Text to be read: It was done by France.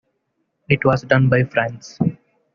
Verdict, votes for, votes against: accepted, 2, 0